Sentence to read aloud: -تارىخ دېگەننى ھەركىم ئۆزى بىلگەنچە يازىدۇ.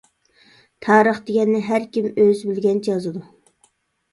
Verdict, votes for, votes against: accepted, 2, 0